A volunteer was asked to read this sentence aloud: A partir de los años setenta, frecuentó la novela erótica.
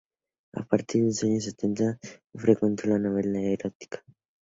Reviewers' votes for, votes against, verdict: 2, 0, accepted